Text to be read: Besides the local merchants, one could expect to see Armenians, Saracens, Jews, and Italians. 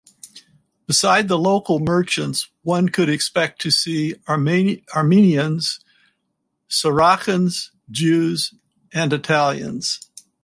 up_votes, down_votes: 0, 4